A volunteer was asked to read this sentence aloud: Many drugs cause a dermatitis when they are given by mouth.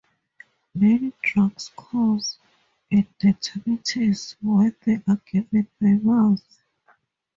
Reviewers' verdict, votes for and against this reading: accepted, 4, 2